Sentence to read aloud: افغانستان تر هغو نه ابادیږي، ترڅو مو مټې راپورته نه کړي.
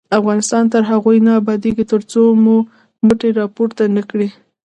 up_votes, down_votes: 1, 2